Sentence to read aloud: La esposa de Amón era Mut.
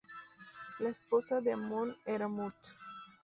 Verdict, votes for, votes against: rejected, 0, 2